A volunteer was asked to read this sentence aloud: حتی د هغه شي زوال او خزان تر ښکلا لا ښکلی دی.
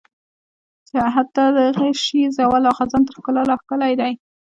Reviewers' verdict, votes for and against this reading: accepted, 2, 1